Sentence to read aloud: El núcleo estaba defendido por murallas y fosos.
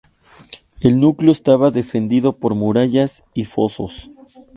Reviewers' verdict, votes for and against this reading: accepted, 2, 0